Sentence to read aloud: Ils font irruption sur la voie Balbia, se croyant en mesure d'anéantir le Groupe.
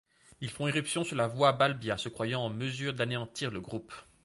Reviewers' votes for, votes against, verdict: 2, 0, accepted